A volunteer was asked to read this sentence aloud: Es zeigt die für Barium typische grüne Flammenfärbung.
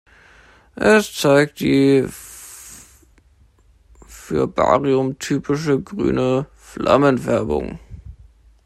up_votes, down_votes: 1, 2